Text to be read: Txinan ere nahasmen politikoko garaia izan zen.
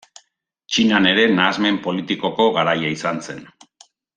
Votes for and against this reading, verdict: 2, 0, accepted